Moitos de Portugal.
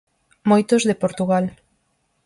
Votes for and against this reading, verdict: 4, 0, accepted